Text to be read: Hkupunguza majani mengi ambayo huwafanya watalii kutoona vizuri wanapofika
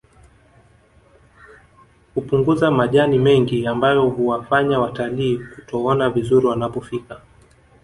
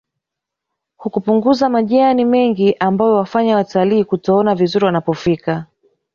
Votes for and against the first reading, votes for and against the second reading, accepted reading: 2, 0, 0, 2, first